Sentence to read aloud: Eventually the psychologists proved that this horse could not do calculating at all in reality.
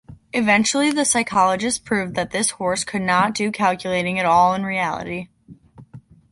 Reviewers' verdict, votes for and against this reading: accepted, 2, 0